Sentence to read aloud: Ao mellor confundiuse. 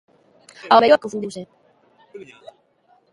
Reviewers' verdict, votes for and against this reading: rejected, 1, 3